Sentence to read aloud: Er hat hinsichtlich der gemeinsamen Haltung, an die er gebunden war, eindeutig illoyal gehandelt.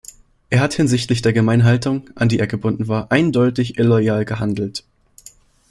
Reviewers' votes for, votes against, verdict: 1, 2, rejected